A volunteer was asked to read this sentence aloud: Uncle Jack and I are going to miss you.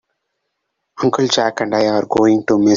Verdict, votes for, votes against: rejected, 0, 2